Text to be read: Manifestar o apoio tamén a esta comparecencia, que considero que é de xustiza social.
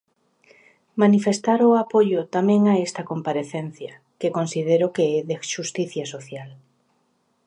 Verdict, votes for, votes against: rejected, 1, 2